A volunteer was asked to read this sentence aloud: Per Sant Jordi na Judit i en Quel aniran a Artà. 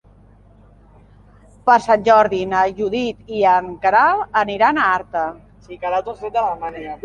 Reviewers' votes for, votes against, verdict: 0, 2, rejected